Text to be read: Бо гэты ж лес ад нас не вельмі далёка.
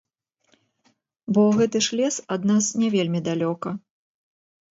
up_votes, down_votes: 0, 2